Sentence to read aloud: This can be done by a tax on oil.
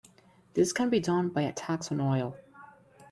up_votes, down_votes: 2, 0